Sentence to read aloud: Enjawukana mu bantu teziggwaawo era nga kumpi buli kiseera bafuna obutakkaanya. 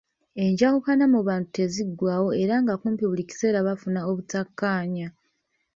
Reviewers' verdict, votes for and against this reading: rejected, 1, 2